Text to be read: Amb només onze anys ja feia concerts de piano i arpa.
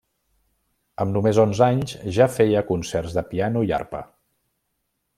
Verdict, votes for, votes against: accepted, 3, 0